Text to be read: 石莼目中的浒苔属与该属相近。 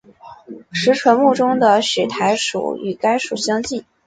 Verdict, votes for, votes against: accepted, 4, 1